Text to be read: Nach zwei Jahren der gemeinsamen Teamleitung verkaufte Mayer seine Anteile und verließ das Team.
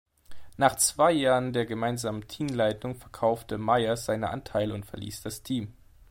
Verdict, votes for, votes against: accepted, 2, 0